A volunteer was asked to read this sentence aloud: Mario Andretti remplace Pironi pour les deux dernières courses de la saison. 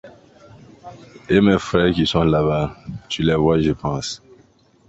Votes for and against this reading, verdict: 0, 2, rejected